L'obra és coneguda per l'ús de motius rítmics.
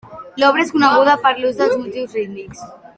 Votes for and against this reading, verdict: 2, 1, accepted